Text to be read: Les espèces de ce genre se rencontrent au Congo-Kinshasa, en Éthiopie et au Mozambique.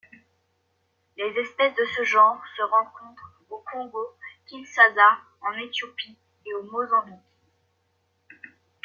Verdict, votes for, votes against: rejected, 1, 2